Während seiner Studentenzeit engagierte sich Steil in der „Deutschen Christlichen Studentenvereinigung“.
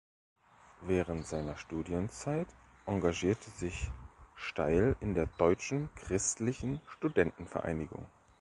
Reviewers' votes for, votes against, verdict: 1, 2, rejected